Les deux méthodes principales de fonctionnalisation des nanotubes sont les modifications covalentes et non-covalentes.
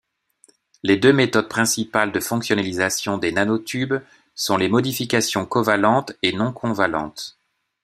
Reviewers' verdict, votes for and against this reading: rejected, 1, 2